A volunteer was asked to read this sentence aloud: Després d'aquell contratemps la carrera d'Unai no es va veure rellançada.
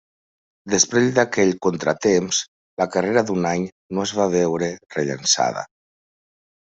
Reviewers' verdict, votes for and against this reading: accepted, 2, 0